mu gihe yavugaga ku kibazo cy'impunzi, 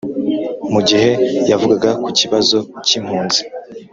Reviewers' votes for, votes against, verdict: 4, 0, accepted